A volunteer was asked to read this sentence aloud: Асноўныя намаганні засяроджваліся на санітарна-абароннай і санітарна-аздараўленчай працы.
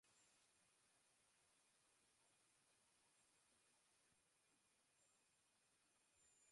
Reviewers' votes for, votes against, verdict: 0, 2, rejected